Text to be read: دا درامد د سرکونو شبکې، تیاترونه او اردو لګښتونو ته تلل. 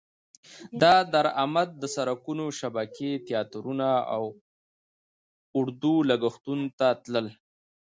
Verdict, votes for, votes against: accepted, 2, 0